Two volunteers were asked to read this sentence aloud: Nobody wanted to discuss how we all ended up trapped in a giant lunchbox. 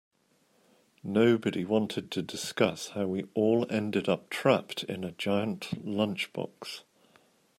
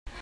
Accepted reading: first